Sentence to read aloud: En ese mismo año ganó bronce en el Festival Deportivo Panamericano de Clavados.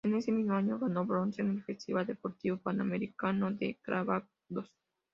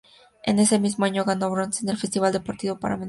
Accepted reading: first